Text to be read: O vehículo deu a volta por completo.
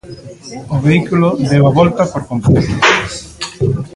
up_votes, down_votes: 1, 2